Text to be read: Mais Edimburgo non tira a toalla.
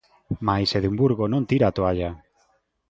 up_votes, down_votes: 2, 0